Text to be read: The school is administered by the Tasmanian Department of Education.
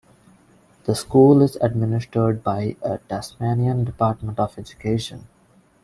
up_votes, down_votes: 0, 2